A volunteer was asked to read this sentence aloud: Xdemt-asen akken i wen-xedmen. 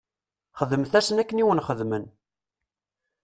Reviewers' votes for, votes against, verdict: 2, 0, accepted